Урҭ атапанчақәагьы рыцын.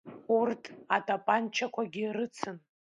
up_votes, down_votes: 2, 0